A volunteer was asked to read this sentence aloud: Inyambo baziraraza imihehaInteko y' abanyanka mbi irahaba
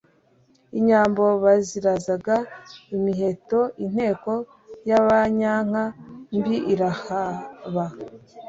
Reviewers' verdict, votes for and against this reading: rejected, 1, 2